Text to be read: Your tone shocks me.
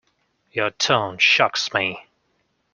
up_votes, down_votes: 2, 0